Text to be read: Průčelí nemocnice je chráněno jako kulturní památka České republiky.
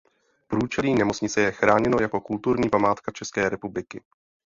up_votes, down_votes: 0, 2